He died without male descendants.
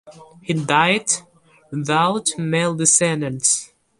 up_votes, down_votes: 2, 0